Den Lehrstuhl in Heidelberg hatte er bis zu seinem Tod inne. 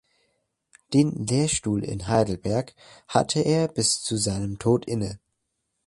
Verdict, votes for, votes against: accepted, 2, 0